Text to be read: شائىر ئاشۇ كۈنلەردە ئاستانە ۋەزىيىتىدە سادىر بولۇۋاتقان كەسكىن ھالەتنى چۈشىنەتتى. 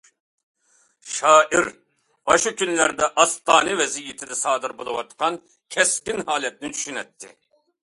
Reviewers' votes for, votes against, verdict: 2, 0, accepted